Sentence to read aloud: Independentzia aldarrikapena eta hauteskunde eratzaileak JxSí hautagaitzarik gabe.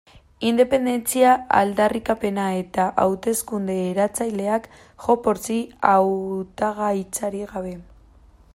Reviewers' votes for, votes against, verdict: 2, 0, accepted